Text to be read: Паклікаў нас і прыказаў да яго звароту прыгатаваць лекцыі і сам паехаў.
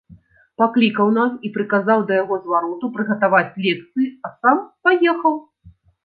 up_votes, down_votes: 0, 2